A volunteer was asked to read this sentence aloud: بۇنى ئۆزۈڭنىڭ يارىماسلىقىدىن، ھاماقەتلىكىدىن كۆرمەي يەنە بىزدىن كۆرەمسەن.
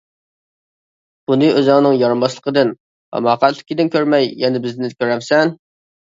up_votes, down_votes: 1, 2